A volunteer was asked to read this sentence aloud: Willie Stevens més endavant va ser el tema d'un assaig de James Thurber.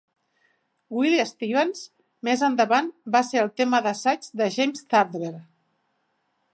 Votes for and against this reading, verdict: 0, 2, rejected